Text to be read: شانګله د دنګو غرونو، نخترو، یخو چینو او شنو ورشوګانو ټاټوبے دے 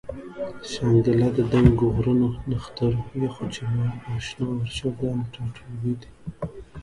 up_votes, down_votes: 2, 0